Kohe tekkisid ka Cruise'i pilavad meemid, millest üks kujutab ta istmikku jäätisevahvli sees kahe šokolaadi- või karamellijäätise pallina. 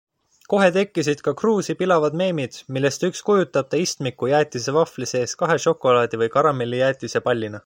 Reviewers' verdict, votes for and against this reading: accepted, 3, 0